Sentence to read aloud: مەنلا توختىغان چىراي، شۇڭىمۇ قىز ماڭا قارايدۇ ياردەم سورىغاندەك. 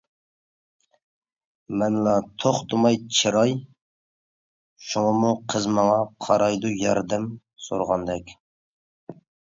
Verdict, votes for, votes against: rejected, 0, 2